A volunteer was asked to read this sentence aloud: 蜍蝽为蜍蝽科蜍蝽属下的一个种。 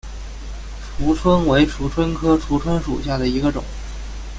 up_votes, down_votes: 2, 0